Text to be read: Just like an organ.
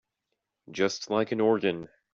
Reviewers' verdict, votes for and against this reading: accepted, 2, 0